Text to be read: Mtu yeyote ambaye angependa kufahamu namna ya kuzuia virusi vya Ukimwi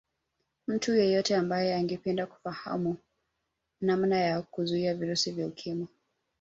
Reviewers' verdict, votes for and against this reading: accepted, 2, 0